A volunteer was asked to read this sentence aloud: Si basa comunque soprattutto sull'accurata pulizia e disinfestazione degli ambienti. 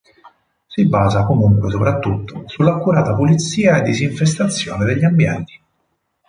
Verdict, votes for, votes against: accepted, 4, 0